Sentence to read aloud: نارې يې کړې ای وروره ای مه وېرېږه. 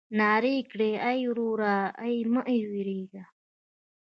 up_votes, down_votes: 2, 0